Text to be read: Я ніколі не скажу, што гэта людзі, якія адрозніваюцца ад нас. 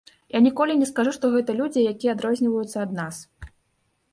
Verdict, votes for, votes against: accepted, 2, 0